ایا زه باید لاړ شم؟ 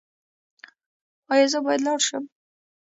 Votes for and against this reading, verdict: 1, 2, rejected